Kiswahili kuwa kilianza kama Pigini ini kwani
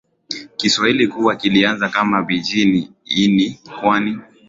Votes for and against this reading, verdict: 3, 0, accepted